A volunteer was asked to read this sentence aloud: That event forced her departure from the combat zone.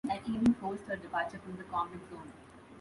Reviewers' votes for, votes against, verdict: 0, 2, rejected